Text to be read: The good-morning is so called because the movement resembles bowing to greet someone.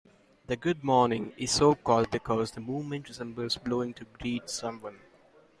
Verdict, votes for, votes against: accepted, 2, 1